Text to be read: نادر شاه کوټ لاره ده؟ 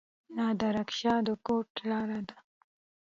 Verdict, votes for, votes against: accepted, 2, 0